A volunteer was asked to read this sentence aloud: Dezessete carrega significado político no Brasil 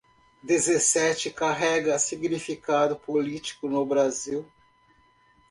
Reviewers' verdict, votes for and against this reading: accepted, 2, 0